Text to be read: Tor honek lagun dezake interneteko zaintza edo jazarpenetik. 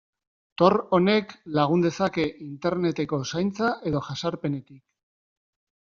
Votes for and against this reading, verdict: 0, 2, rejected